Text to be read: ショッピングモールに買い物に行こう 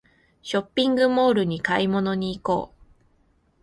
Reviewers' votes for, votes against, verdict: 2, 0, accepted